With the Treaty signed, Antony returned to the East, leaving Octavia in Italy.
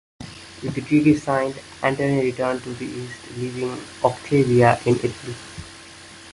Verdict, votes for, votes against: accepted, 2, 0